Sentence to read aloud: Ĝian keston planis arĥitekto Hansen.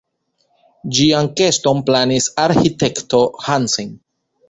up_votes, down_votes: 1, 2